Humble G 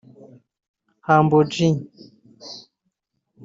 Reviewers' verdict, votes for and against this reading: rejected, 1, 2